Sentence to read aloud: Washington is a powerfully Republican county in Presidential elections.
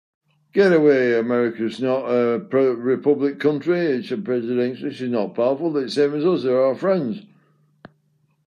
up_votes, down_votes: 0, 2